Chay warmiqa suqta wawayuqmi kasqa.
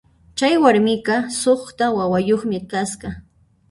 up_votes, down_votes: 0, 2